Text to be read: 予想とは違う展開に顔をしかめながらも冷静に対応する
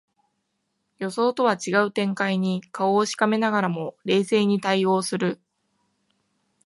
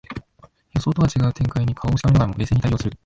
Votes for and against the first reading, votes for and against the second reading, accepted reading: 1, 2, 2, 0, second